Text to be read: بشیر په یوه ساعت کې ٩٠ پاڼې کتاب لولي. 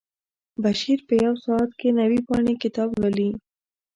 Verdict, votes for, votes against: rejected, 0, 2